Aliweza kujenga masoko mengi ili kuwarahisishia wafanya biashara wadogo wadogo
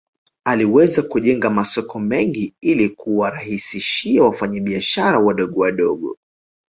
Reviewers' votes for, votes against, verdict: 2, 0, accepted